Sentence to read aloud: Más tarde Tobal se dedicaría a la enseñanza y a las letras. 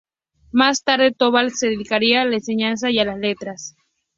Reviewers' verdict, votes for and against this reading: accepted, 2, 0